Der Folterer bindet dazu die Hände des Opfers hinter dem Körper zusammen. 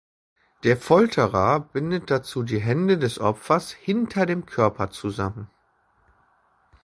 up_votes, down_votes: 2, 0